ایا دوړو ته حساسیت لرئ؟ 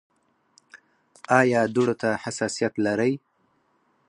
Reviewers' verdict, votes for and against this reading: rejected, 0, 4